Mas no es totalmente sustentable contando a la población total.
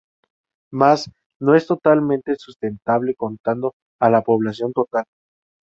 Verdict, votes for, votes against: accepted, 2, 0